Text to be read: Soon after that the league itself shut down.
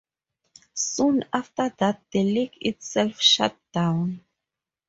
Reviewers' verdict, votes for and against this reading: accepted, 2, 0